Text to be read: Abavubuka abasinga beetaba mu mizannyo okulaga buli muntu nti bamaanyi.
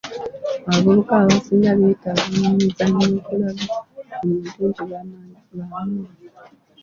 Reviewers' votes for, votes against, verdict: 1, 2, rejected